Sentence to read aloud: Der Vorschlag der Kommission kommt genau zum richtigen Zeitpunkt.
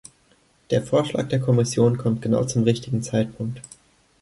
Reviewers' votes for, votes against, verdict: 2, 0, accepted